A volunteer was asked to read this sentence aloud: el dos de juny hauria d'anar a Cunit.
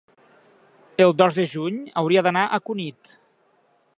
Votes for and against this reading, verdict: 3, 0, accepted